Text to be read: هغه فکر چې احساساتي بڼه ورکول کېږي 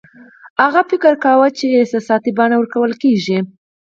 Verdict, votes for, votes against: rejected, 0, 4